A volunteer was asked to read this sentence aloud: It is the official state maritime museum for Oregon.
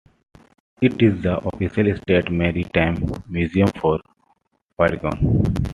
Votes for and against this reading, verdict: 2, 1, accepted